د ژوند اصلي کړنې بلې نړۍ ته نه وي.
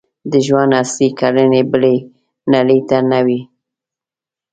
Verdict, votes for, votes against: rejected, 0, 2